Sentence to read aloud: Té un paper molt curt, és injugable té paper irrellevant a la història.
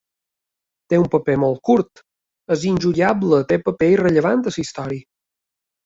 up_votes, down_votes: 2, 1